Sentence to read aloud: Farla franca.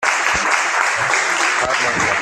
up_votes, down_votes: 0, 2